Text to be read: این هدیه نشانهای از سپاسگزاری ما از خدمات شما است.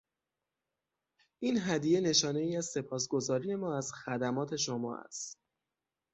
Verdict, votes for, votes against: accepted, 6, 0